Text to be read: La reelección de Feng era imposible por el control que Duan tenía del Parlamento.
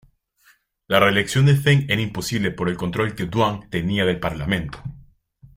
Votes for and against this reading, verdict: 2, 0, accepted